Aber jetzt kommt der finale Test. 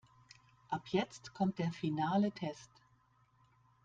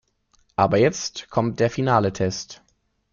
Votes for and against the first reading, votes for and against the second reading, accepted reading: 0, 2, 2, 0, second